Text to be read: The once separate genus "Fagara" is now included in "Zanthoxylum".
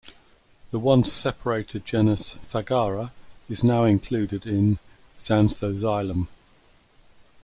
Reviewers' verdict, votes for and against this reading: rejected, 0, 2